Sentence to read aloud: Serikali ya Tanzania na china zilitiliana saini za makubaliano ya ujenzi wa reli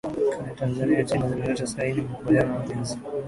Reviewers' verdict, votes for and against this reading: rejected, 0, 2